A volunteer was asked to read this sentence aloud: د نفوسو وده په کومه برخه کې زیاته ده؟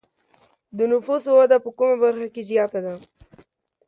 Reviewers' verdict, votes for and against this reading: accepted, 2, 0